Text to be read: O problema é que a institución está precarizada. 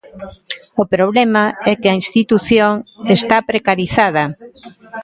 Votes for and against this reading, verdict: 1, 2, rejected